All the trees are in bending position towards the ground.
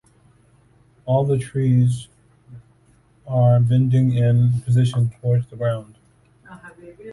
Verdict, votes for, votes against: rejected, 1, 2